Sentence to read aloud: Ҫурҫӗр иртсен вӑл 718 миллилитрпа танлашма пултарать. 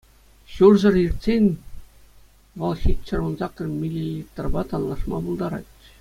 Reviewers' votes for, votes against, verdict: 0, 2, rejected